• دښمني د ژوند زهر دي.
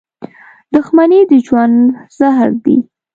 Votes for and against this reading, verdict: 3, 0, accepted